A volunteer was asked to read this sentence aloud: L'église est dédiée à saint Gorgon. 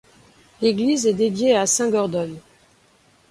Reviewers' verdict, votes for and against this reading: rejected, 1, 2